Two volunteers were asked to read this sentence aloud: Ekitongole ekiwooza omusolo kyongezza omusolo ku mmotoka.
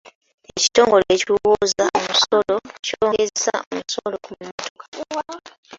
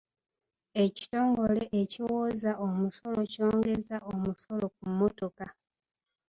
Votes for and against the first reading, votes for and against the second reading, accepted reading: 0, 3, 2, 1, second